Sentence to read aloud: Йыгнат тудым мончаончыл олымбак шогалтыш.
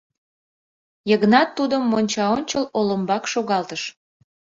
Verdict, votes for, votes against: accepted, 2, 0